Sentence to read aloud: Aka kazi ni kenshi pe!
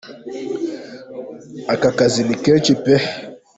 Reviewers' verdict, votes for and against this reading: accepted, 2, 1